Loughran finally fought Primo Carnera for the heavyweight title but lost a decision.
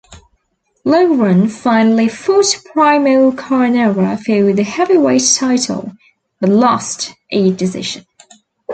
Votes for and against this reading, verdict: 2, 0, accepted